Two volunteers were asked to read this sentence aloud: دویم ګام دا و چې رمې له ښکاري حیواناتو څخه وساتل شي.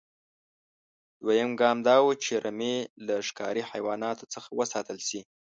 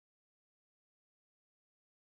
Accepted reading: first